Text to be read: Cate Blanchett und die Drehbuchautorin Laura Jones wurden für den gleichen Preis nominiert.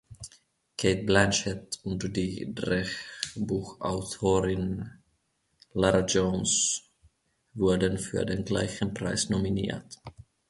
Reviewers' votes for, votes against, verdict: 1, 2, rejected